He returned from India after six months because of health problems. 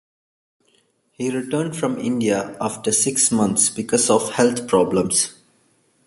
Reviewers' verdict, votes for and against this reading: accepted, 2, 0